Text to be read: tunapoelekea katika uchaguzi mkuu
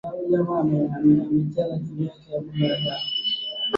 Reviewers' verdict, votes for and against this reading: rejected, 0, 10